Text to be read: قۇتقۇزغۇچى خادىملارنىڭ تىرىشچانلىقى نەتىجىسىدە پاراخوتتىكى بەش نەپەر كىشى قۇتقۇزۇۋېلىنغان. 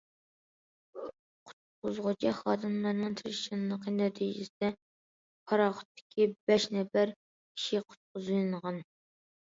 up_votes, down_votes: 1, 2